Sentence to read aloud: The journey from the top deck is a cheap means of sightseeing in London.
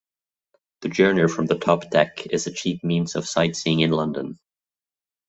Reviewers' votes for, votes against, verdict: 2, 0, accepted